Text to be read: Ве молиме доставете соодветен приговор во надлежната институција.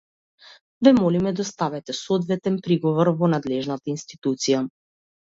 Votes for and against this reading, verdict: 2, 0, accepted